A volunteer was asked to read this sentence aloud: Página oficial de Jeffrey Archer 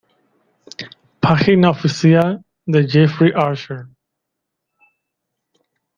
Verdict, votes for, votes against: rejected, 1, 2